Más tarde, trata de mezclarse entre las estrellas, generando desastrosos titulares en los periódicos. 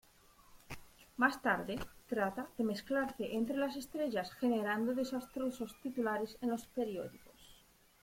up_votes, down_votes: 2, 0